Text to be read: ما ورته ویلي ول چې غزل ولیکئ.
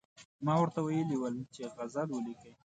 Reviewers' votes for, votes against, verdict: 2, 0, accepted